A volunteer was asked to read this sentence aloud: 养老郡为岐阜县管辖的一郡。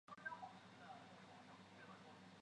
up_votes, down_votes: 0, 2